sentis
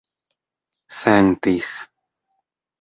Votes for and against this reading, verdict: 3, 0, accepted